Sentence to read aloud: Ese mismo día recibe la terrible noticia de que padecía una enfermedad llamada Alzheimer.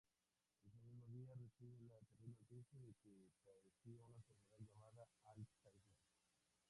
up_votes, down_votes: 0, 2